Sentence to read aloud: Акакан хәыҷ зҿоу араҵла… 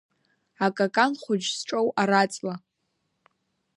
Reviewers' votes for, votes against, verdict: 0, 2, rejected